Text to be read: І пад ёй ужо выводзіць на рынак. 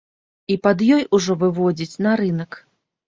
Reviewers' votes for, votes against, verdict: 2, 0, accepted